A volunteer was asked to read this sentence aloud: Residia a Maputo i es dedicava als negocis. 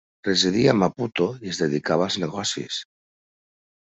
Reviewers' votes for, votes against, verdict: 2, 0, accepted